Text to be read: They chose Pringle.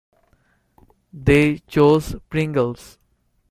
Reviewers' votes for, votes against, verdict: 0, 2, rejected